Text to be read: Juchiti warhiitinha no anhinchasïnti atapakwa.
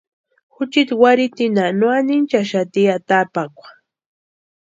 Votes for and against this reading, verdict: 0, 2, rejected